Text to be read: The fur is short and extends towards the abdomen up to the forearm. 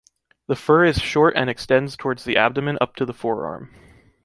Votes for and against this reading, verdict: 2, 0, accepted